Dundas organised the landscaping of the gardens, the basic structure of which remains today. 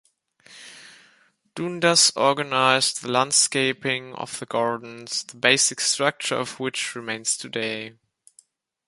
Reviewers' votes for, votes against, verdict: 2, 1, accepted